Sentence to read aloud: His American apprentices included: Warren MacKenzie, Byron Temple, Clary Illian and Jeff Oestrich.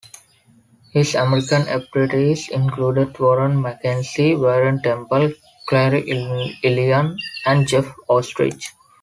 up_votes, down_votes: 3, 1